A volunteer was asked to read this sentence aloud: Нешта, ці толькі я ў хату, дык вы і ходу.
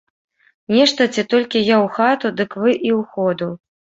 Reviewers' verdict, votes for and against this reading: rejected, 0, 2